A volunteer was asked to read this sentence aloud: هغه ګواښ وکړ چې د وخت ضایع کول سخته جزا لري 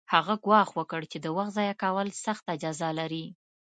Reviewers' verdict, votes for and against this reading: accepted, 2, 0